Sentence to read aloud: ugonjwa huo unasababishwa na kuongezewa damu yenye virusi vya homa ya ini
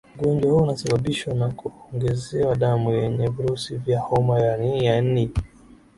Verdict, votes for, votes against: rejected, 7, 8